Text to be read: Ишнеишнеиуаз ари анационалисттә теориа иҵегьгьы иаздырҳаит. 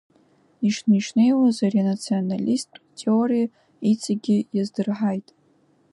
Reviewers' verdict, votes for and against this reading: accepted, 2, 1